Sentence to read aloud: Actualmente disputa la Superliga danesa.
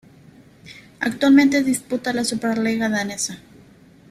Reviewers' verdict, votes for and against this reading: accepted, 2, 1